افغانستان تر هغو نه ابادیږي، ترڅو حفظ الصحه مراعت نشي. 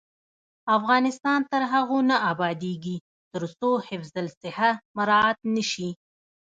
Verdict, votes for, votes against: accepted, 2, 0